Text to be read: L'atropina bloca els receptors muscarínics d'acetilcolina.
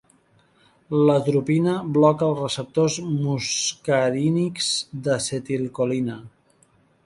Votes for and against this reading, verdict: 0, 2, rejected